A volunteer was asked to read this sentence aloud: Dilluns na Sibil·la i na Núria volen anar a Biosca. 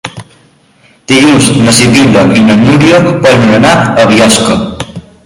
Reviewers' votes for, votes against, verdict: 2, 0, accepted